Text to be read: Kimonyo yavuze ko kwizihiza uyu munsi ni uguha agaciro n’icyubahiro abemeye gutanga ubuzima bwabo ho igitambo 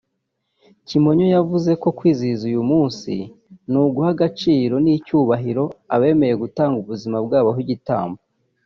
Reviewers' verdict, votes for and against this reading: accepted, 2, 1